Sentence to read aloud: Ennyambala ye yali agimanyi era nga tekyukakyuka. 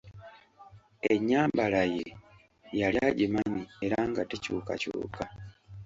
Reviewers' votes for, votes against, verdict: 2, 0, accepted